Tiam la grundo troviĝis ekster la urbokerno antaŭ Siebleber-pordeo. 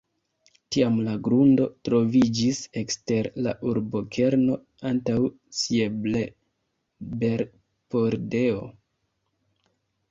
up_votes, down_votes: 2, 1